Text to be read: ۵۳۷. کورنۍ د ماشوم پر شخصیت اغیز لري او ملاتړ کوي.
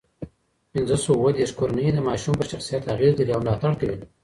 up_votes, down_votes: 0, 2